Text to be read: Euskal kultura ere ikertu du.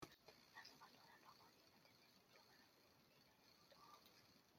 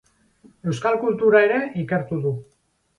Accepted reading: second